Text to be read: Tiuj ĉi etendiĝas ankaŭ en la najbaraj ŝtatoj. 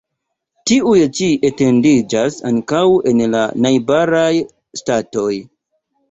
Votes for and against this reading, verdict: 1, 2, rejected